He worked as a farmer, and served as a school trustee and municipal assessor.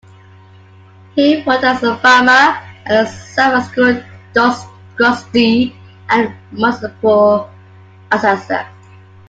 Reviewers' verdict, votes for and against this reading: rejected, 0, 2